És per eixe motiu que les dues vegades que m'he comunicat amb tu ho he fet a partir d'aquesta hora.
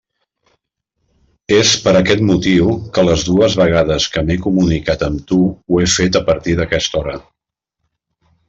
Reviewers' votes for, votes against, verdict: 0, 2, rejected